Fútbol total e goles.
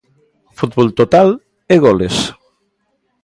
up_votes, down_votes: 2, 0